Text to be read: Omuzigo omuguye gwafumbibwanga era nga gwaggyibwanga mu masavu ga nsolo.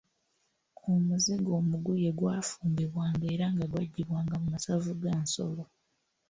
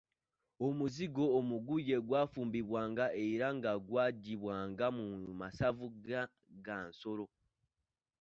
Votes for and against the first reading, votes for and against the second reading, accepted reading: 2, 1, 0, 2, first